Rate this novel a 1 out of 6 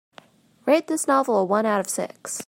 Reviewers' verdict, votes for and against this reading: rejected, 0, 2